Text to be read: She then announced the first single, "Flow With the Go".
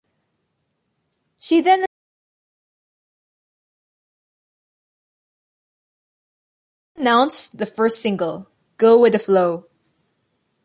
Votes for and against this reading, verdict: 0, 2, rejected